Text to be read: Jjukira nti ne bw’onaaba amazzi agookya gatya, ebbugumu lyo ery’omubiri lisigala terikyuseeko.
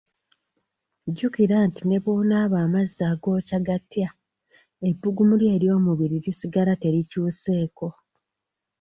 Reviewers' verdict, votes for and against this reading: rejected, 0, 2